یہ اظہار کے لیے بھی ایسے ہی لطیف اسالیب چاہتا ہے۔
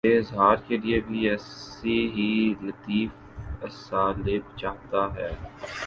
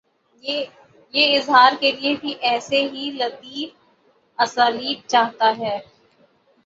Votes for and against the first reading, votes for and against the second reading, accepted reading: 2, 1, 0, 3, first